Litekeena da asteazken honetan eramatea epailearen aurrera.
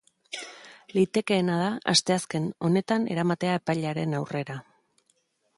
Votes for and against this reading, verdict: 3, 0, accepted